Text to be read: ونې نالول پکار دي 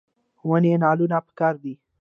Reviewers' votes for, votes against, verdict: 0, 2, rejected